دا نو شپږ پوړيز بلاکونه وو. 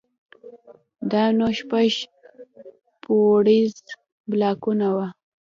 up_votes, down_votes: 2, 0